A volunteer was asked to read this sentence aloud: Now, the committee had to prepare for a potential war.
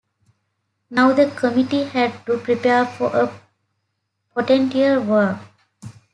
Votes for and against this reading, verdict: 2, 0, accepted